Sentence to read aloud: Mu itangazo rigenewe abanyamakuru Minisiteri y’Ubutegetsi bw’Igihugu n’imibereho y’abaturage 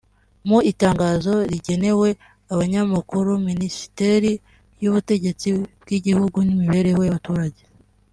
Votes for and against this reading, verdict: 2, 1, accepted